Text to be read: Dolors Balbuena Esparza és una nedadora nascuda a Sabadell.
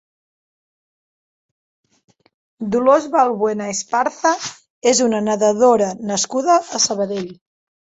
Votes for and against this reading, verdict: 1, 2, rejected